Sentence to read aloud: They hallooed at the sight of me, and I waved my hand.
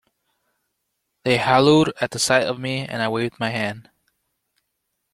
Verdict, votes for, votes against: accepted, 2, 0